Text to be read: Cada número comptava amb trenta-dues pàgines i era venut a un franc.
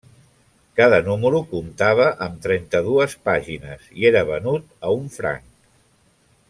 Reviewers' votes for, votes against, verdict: 3, 0, accepted